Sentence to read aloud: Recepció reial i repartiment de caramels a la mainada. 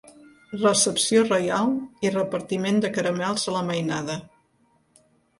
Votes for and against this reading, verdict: 2, 0, accepted